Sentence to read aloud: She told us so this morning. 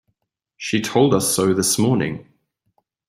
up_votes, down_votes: 2, 0